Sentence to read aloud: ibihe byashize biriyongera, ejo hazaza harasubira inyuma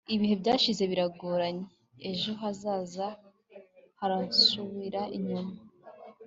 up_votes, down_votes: 2, 0